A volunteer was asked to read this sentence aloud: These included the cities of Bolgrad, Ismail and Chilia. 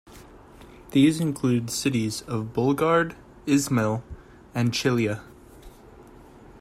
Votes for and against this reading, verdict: 2, 0, accepted